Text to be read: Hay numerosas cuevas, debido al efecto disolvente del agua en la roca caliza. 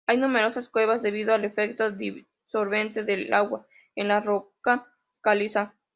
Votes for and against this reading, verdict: 2, 0, accepted